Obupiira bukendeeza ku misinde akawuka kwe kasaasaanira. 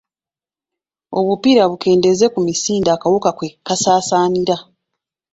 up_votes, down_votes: 2, 1